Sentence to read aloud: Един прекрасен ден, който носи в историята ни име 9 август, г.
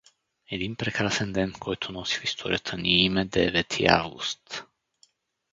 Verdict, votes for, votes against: rejected, 0, 2